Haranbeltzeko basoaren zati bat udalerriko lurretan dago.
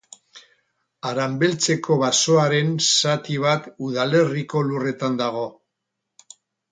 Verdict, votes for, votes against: rejected, 0, 4